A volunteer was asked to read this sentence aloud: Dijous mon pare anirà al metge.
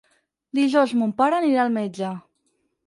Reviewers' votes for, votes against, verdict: 6, 0, accepted